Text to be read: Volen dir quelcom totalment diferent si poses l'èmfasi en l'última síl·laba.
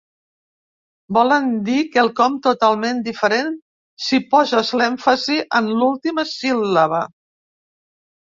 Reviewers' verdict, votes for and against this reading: accepted, 2, 0